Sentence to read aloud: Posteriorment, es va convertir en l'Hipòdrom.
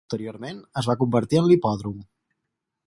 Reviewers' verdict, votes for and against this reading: rejected, 0, 4